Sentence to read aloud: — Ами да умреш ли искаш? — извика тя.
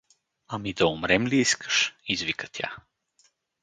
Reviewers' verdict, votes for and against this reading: rejected, 0, 2